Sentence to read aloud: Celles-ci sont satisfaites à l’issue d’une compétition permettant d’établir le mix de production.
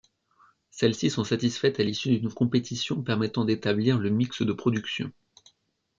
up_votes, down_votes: 2, 0